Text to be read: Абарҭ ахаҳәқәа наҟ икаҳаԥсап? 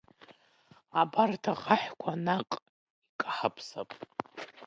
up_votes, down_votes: 2, 1